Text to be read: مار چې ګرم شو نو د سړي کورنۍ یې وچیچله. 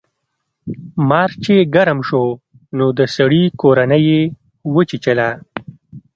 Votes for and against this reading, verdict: 2, 1, accepted